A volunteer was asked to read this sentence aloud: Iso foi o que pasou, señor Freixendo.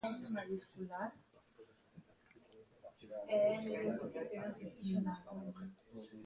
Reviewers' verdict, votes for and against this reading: rejected, 0, 2